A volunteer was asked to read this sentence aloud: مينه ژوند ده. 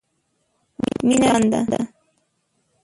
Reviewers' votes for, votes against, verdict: 0, 2, rejected